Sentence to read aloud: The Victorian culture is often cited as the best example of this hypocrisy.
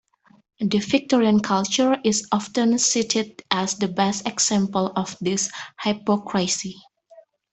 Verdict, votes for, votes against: rejected, 0, 2